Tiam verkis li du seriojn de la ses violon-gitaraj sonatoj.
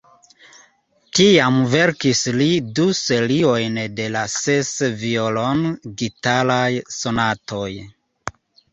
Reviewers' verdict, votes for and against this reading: accepted, 2, 0